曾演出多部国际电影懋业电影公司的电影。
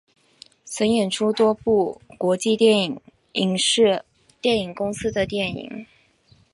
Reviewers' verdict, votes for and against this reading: rejected, 2, 3